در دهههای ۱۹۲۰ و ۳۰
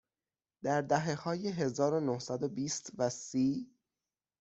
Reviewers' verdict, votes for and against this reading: rejected, 0, 2